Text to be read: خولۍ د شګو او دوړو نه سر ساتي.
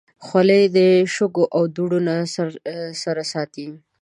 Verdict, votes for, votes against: rejected, 4, 7